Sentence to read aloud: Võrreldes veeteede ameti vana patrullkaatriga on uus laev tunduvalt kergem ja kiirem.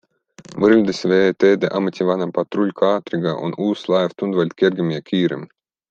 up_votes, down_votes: 2, 0